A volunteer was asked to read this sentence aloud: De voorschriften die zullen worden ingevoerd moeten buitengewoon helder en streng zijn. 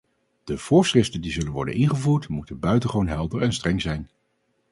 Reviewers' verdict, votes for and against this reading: accepted, 2, 0